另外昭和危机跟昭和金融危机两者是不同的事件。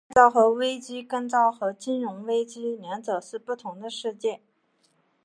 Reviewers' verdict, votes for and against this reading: accepted, 2, 0